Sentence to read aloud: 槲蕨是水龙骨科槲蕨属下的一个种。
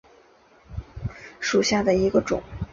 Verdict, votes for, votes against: accepted, 2, 1